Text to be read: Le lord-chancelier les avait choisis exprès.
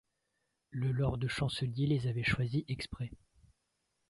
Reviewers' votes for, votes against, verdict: 2, 0, accepted